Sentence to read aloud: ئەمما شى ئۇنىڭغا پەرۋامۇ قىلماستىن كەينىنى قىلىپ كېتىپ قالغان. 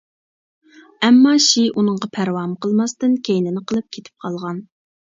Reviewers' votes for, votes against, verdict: 2, 0, accepted